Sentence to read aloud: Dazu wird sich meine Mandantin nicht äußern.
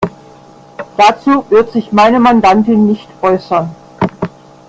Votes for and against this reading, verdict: 0, 2, rejected